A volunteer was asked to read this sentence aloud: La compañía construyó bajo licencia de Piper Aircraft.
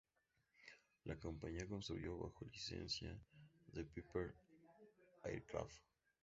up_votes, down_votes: 2, 0